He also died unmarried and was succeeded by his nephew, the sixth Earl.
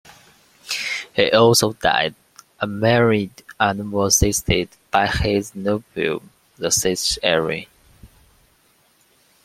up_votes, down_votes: 0, 2